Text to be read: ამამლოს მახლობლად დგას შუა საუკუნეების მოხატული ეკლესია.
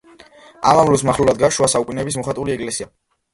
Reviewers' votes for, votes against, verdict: 0, 2, rejected